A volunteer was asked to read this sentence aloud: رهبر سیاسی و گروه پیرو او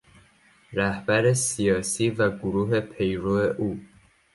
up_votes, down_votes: 2, 0